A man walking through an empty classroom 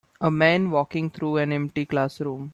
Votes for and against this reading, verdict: 4, 0, accepted